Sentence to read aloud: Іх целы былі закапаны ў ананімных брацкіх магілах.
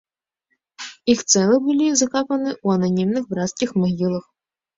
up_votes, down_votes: 0, 2